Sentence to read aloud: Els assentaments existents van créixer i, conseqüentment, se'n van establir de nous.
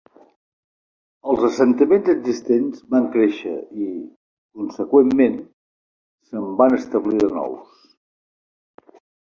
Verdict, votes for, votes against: accepted, 3, 0